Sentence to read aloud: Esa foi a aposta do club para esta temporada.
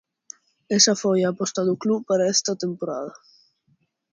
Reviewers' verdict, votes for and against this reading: accepted, 2, 0